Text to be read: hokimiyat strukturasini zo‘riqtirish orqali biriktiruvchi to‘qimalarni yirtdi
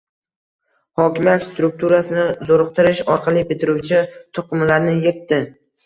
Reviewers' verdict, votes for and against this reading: accepted, 2, 0